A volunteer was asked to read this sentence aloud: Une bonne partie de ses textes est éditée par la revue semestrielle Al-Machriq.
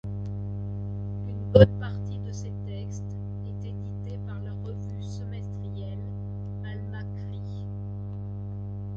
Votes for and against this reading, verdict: 2, 3, rejected